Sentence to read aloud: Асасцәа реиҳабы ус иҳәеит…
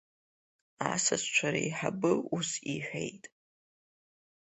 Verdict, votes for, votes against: accepted, 2, 0